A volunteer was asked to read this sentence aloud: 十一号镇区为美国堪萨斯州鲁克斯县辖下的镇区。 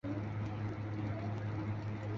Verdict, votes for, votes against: rejected, 1, 2